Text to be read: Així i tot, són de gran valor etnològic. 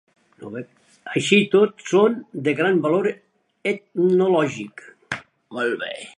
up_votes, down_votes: 0, 2